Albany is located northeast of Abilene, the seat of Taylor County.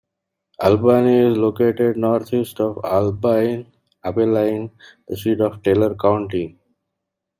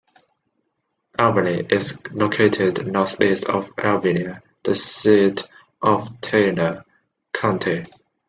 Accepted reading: second